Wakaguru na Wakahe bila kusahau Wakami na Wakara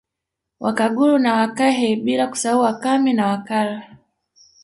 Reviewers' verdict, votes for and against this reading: accepted, 2, 1